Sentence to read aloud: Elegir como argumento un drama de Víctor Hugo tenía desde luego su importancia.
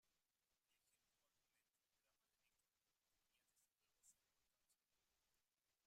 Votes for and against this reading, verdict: 0, 2, rejected